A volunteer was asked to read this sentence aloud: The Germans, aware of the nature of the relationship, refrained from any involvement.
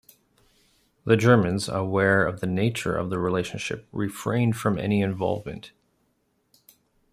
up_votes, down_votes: 2, 0